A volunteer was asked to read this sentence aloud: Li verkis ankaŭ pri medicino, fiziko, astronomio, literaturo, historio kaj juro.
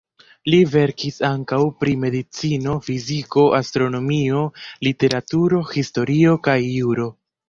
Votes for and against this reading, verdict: 2, 0, accepted